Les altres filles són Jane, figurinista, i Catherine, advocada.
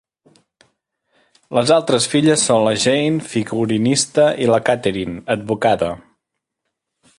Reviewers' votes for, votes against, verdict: 1, 2, rejected